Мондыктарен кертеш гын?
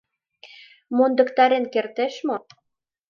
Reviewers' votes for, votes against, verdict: 0, 2, rejected